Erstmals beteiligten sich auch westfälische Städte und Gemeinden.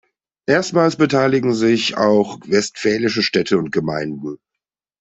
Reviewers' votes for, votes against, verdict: 1, 2, rejected